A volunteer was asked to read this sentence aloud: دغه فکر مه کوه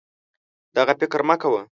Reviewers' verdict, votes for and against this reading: accepted, 2, 0